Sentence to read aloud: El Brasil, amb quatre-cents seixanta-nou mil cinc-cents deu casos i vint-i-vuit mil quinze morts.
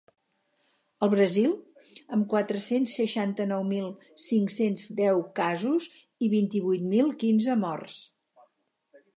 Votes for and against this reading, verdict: 4, 0, accepted